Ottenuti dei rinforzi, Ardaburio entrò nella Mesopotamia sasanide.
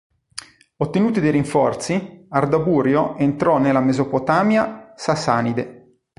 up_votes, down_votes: 2, 0